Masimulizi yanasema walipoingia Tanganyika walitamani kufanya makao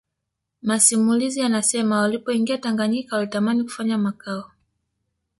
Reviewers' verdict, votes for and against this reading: accepted, 2, 0